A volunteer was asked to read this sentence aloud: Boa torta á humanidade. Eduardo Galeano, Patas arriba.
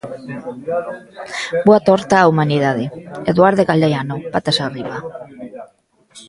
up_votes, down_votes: 0, 2